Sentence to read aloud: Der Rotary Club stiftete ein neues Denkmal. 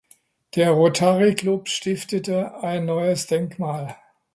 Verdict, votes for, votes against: accepted, 2, 0